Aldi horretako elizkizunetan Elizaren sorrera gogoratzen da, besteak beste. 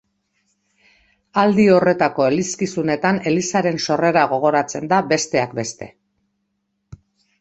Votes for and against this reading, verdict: 5, 0, accepted